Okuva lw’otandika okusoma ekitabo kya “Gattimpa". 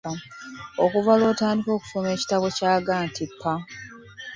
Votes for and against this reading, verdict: 1, 2, rejected